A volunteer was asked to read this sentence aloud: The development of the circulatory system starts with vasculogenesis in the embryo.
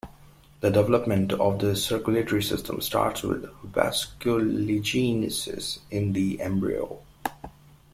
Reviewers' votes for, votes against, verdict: 0, 2, rejected